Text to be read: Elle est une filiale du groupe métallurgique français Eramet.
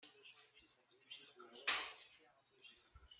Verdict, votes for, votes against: rejected, 0, 2